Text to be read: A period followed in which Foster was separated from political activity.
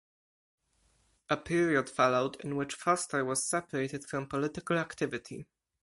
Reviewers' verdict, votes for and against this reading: accepted, 4, 0